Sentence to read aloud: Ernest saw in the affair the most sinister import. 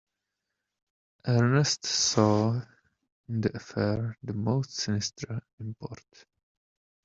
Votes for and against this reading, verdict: 1, 2, rejected